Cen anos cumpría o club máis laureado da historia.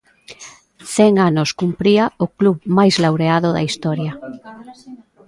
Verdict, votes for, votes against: accepted, 2, 0